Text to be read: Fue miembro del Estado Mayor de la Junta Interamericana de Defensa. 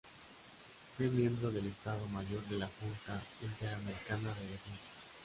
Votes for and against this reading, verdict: 2, 1, accepted